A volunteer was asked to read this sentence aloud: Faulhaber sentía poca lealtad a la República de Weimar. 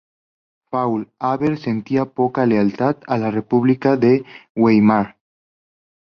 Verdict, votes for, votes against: accepted, 2, 0